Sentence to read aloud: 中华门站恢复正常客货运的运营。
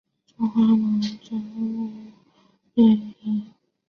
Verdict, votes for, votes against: rejected, 0, 3